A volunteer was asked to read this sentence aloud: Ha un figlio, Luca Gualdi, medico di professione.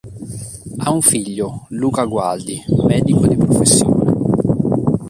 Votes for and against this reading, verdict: 2, 0, accepted